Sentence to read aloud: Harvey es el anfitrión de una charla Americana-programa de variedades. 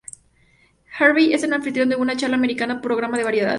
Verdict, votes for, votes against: accepted, 2, 0